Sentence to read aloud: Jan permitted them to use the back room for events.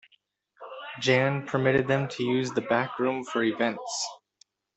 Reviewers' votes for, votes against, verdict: 1, 2, rejected